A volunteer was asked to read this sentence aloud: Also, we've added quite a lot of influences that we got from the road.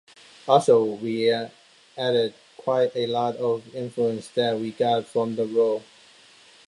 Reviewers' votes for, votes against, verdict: 0, 2, rejected